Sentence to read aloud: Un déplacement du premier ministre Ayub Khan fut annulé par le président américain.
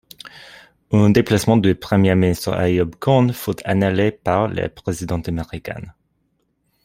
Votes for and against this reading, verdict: 2, 0, accepted